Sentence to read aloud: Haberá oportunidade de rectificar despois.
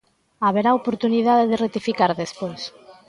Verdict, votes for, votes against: accepted, 2, 0